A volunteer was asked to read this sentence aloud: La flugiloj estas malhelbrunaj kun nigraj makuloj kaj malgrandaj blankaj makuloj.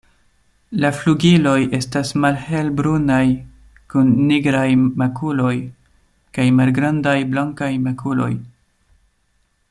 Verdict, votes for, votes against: accepted, 2, 0